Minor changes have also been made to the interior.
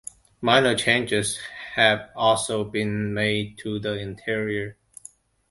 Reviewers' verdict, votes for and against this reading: accepted, 2, 0